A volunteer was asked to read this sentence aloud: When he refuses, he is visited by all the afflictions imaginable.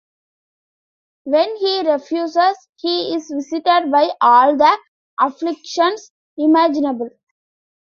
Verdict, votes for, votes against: accepted, 2, 0